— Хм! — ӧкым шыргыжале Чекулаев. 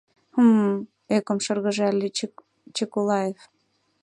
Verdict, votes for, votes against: rejected, 0, 3